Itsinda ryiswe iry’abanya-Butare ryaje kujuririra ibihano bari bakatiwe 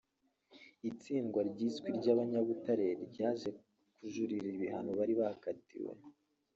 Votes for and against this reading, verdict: 0, 2, rejected